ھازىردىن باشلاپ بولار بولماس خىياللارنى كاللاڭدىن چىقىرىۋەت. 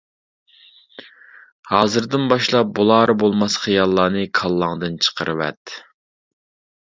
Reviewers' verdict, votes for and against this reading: accepted, 2, 0